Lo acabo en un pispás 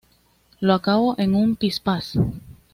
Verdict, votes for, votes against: accepted, 2, 0